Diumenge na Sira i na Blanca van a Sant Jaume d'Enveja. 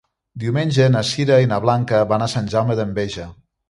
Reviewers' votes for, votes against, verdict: 2, 0, accepted